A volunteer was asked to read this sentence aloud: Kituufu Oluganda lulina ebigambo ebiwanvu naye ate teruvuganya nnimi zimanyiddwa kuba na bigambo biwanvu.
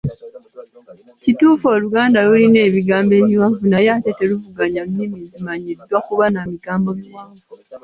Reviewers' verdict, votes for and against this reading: accepted, 2, 1